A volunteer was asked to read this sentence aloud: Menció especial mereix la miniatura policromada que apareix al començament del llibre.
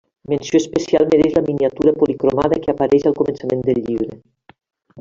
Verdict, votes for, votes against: accepted, 2, 1